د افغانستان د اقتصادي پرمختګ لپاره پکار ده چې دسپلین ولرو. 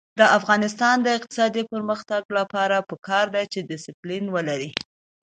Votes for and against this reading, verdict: 2, 0, accepted